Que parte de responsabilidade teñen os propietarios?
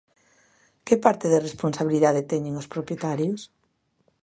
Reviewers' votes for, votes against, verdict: 2, 0, accepted